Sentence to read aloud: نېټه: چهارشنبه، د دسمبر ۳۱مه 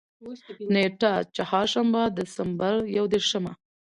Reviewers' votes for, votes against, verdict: 0, 2, rejected